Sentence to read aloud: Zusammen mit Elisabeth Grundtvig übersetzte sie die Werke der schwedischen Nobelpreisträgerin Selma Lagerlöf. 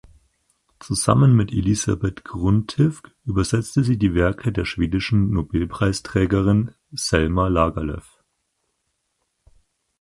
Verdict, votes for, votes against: rejected, 2, 4